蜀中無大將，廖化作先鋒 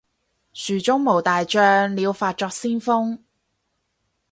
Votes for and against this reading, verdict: 4, 0, accepted